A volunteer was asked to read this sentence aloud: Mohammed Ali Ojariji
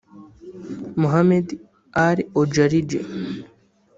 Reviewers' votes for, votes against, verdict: 0, 3, rejected